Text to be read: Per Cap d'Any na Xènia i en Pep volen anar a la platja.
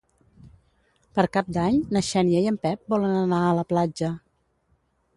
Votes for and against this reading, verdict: 2, 0, accepted